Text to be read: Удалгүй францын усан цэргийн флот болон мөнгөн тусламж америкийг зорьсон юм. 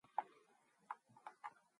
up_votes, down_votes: 2, 4